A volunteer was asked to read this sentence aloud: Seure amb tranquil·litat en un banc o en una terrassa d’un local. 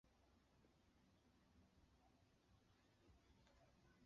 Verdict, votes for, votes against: rejected, 0, 2